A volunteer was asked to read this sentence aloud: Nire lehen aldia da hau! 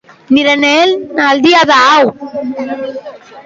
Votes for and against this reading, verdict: 2, 1, accepted